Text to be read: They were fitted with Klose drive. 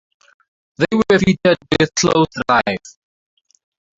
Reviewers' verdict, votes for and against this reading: rejected, 2, 2